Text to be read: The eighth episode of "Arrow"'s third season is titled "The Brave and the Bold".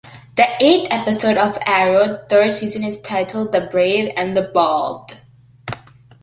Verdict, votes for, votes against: accepted, 2, 0